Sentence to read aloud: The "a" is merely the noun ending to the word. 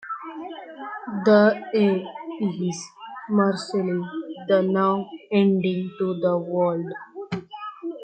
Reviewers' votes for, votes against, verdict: 0, 2, rejected